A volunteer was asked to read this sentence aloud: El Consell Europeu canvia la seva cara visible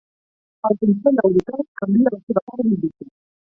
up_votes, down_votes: 0, 4